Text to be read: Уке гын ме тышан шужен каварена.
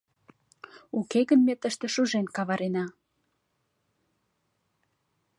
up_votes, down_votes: 0, 2